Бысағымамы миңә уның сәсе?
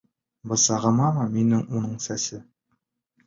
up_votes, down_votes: 2, 0